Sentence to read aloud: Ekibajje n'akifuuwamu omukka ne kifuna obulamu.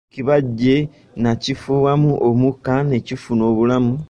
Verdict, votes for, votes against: rejected, 1, 2